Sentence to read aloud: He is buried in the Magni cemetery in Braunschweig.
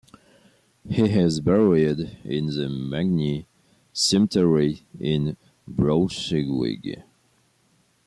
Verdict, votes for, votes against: rejected, 1, 2